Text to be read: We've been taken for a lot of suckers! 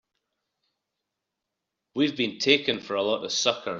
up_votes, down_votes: 1, 2